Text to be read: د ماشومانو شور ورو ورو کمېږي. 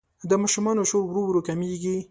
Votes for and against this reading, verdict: 2, 0, accepted